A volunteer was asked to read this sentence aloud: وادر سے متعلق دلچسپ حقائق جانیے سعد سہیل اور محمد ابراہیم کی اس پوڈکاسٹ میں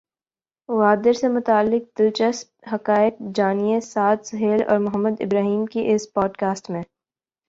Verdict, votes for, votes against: rejected, 0, 2